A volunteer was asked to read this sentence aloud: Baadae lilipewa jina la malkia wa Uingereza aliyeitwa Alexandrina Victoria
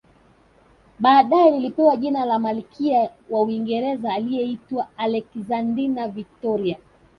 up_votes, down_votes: 2, 1